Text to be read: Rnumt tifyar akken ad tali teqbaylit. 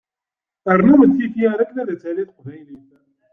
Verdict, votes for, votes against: rejected, 0, 2